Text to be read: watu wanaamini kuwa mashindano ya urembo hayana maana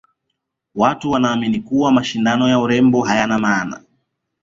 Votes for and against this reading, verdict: 2, 0, accepted